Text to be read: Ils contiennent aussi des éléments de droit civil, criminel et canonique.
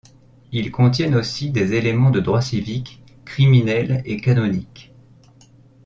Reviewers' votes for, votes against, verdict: 1, 2, rejected